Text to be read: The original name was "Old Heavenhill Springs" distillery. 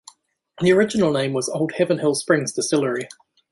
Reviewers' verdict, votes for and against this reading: accepted, 2, 0